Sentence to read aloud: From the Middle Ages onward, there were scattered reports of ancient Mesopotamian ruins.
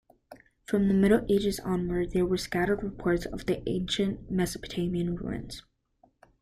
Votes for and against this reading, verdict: 2, 0, accepted